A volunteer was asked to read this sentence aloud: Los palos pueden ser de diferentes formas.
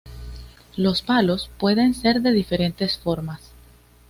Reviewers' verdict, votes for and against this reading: accepted, 2, 0